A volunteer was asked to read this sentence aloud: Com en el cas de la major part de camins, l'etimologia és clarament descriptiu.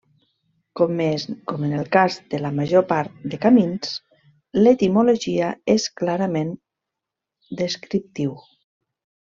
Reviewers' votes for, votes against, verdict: 1, 2, rejected